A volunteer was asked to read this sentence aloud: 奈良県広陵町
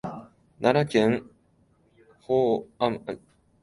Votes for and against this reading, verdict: 1, 2, rejected